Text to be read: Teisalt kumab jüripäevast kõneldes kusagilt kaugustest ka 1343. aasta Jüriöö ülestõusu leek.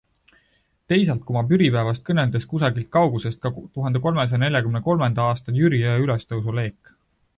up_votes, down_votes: 0, 2